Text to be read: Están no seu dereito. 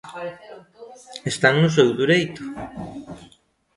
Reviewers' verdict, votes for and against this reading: rejected, 0, 2